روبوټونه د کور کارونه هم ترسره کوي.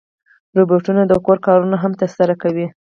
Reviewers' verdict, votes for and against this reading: rejected, 2, 4